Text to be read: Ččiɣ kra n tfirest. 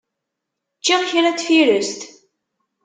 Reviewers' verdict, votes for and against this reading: accepted, 2, 0